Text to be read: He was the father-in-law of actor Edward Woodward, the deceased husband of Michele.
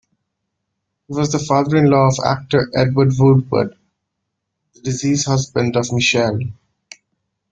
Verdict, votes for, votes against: rejected, 1, 2